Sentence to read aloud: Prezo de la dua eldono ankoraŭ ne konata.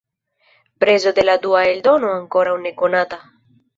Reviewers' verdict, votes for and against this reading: accepted, 2, 0